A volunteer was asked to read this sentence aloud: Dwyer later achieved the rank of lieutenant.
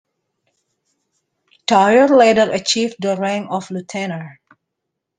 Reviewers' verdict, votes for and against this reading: rejected, 0, 2